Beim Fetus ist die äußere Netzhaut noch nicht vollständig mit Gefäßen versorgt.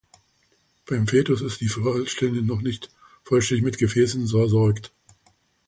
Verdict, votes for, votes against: rejected, 0, 2